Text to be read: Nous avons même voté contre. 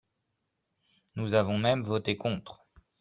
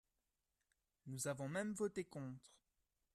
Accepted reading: first